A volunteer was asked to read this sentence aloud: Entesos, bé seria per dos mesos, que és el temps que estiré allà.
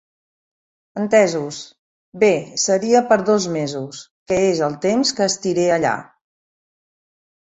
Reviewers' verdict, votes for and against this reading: accepted, 3, 0